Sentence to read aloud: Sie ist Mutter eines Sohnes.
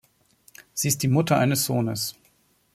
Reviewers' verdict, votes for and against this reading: rejected, 0, 2